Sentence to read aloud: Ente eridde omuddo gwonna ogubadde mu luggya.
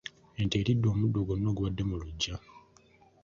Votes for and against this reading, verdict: 2, 0, accepted